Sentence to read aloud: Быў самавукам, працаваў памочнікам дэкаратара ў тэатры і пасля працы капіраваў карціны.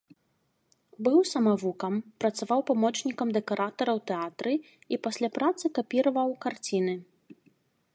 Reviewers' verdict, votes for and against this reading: accepted, 2, 0